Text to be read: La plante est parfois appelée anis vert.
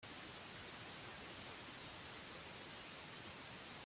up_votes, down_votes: 0, 2